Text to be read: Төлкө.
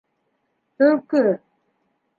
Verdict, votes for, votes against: accepted, 2, 0